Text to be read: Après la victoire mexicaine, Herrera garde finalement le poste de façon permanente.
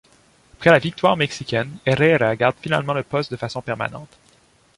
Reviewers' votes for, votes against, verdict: 0, 2, rejected